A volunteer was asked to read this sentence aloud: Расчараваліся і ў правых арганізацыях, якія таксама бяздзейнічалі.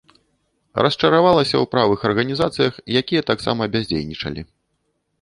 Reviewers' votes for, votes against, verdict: 0, 2, rejected